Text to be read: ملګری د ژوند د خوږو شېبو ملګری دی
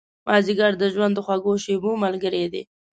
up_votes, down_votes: 0, 2